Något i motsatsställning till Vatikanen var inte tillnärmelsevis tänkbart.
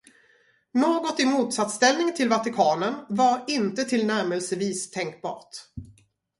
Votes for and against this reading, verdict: 2, 0, accepted